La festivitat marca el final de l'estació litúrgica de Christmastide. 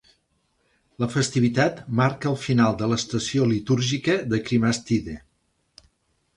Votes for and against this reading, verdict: 0, 2, rejected